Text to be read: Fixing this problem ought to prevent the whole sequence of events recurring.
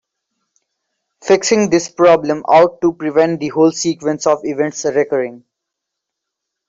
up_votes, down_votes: 2, 0